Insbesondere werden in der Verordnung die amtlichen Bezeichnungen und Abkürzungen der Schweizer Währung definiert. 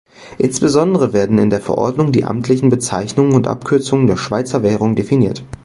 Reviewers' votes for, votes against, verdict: 2, 0, accepted